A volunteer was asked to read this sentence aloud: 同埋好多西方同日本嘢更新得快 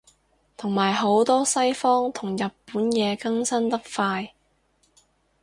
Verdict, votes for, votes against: accepted, 2, 0